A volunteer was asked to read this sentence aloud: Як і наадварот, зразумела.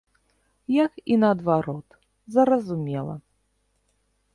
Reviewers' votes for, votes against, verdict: 1, 2, rejected